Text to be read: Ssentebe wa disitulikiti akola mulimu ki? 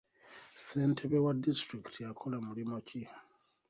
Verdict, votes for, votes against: accepted, 2, 0